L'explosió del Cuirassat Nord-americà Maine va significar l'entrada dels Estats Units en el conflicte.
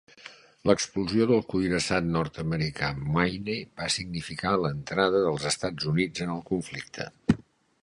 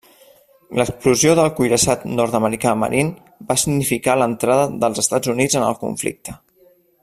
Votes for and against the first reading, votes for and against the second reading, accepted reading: 3, 0, 1, 2, first